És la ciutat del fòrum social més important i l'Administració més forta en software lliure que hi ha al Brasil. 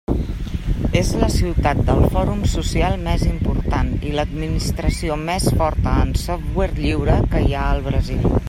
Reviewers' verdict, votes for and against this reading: accepted, 3, 0